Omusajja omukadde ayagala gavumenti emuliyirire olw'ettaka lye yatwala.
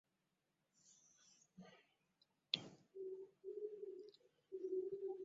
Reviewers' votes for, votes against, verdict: 1, 2, rejected